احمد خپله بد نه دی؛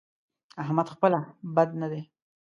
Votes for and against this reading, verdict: 2, 0, accepted